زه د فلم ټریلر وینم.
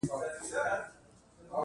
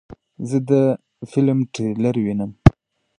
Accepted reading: second